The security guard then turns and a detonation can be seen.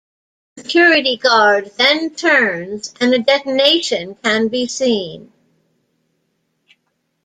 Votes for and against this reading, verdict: 2, 0, accepted